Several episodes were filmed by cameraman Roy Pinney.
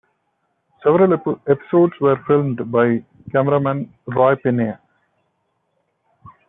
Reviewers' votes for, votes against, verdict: 0, 2, rejected